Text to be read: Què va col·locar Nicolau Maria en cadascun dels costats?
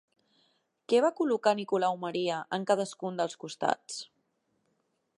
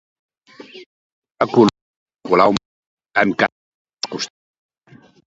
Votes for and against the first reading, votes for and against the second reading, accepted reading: 3, 0, 1, 2, first